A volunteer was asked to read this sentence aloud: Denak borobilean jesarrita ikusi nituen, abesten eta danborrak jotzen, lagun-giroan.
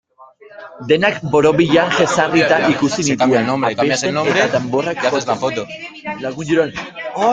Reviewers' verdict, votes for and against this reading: rejected, 0, 2